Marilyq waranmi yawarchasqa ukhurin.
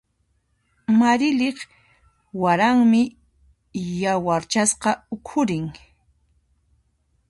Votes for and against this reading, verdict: 2, 0, accepted